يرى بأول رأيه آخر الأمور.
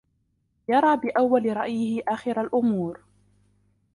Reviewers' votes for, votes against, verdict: 0, 2, rejected